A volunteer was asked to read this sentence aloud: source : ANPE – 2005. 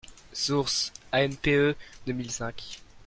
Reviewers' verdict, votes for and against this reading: rejected, 0, 2